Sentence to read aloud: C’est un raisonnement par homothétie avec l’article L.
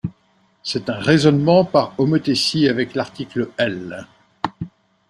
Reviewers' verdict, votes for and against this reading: accepted, 2, 0